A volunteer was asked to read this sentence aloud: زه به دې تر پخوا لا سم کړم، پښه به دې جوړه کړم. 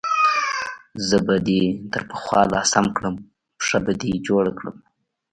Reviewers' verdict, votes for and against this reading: rejected, 0, 2